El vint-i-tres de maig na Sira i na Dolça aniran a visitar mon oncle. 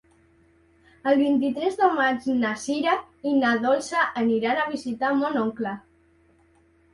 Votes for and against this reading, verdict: 3, 0, accepted